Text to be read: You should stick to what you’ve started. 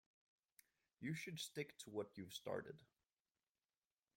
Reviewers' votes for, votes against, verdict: 2, 0, accepted